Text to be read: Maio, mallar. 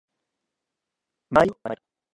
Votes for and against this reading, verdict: 0, 2, rejected